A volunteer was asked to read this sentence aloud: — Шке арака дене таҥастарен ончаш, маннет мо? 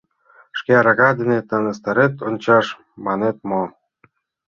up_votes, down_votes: 0, 2